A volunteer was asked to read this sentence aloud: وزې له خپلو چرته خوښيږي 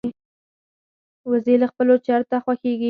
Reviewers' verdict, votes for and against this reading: rejected, 0, 4